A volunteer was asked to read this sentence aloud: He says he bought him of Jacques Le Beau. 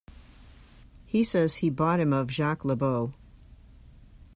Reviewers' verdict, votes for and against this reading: accepted, 2, 1